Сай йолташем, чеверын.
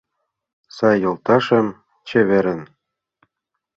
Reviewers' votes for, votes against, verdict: 2, 0, accepted